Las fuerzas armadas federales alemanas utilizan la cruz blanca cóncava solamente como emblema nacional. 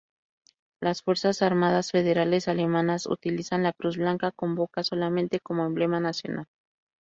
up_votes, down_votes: 0, 2